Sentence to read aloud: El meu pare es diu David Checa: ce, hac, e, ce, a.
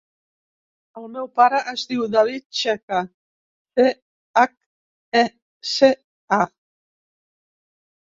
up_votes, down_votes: 0, 2